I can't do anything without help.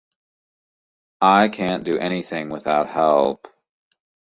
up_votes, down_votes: 2, 0